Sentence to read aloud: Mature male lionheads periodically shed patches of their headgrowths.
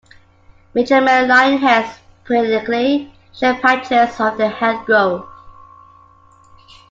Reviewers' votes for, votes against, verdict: 2, 1, accepted